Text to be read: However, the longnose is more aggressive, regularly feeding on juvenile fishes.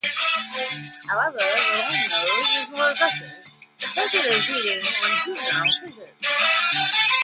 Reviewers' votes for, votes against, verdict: 0, 2, rejected